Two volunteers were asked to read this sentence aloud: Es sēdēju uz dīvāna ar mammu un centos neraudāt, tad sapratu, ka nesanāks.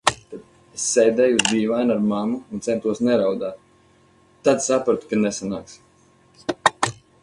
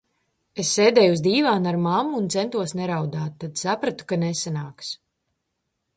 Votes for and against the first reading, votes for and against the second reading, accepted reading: 2, 4, 2, 0, second